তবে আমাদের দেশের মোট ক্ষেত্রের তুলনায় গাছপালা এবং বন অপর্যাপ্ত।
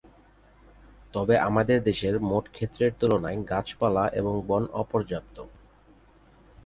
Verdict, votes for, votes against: accepted, 4, 0